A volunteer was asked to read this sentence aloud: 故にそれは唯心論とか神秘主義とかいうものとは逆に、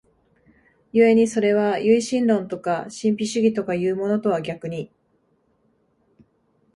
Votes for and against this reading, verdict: 2, 0, accepted